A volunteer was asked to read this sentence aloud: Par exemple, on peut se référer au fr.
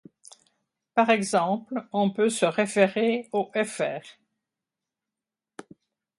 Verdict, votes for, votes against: accepted, 2, 0